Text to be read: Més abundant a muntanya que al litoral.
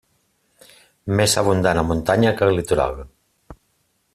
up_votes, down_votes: 2, 0